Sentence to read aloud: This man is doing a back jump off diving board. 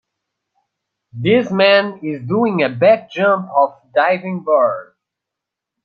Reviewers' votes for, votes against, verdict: 1, 2, rejected